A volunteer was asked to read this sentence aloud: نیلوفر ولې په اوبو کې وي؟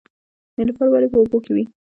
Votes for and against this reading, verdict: 1, 2, rejected